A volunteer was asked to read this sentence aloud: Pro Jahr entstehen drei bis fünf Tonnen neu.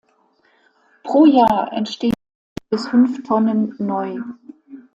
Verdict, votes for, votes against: rejected, 0, 2